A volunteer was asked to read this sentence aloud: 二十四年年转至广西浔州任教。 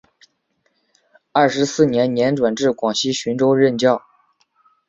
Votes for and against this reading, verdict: 4, 0, accepted